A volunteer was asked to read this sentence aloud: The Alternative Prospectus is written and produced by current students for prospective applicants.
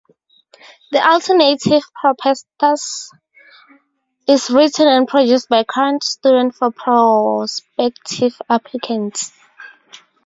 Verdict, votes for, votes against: rejected, 2, 2